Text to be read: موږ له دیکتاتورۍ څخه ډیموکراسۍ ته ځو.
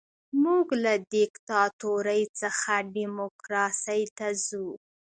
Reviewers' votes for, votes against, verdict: 2, 0, accepted